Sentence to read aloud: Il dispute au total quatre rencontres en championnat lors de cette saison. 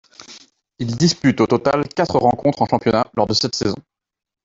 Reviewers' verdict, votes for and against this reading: rejected, 1, 2